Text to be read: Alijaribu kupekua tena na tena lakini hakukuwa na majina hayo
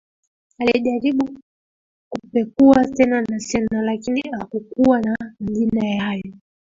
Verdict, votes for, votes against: accepted, 2, 1